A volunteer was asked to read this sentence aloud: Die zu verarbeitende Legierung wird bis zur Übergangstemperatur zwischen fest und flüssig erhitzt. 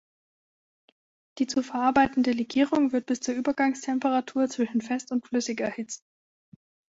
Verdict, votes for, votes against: accepted, 2, 0